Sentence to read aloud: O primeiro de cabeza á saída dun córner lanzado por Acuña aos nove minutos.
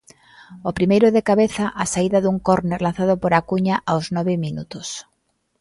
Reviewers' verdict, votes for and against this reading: accepted, 2, 0